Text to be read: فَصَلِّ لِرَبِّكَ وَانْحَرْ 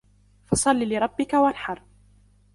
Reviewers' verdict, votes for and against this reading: accepted, 2, 0